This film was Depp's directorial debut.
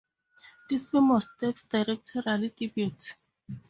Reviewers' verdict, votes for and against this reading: accepted, 2, 0